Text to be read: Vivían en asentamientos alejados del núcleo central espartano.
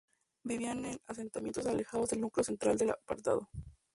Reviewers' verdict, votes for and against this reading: rejected, 2, 2